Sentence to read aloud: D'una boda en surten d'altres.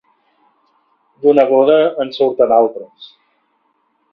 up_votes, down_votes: 2, 0